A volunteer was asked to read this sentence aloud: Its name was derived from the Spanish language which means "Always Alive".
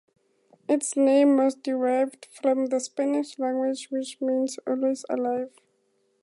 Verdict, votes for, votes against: accepted, 4, 0